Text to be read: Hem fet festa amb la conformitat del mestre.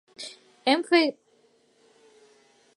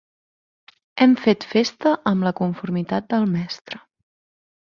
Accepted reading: second